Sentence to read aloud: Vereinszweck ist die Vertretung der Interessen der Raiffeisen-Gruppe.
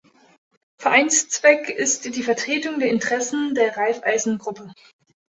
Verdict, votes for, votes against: accepted, 2, 0